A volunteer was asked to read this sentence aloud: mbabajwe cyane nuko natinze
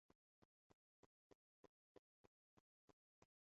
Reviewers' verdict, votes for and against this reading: rejected, 1, 2